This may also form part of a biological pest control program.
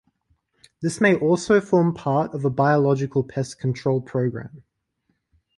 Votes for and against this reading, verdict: 2, 0, accepted